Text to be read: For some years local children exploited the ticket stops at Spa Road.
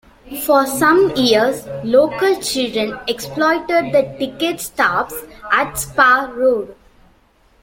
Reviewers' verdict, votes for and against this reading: accepted, 2, 1